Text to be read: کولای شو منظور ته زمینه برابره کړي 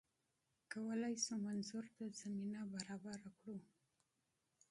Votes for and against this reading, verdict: 1, 2, rejected